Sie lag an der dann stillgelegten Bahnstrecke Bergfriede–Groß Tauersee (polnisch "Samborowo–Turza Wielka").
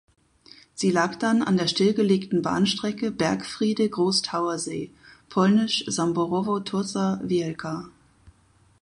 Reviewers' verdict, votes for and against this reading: rejected, 2, 4